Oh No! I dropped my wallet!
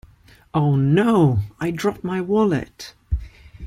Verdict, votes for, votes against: accepted, 2, 0